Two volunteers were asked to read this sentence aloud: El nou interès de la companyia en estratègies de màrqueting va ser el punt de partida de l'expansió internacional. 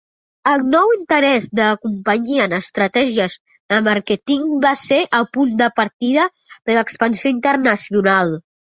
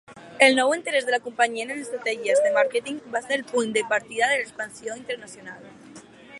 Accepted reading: first